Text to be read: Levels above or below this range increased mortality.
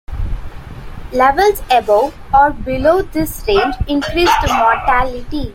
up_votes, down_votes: 1, 2